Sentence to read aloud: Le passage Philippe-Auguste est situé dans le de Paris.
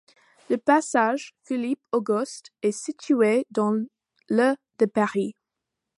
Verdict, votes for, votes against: rejected, 1, 2